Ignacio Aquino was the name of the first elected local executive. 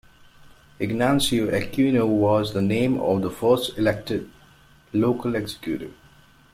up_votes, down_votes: 0, 2